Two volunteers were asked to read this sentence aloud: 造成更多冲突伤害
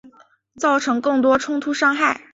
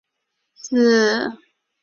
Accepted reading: first